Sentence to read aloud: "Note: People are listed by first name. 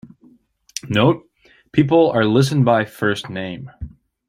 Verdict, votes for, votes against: rejected, 0, 2